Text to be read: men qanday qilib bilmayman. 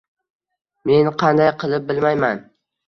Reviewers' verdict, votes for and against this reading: accepted, 2, 1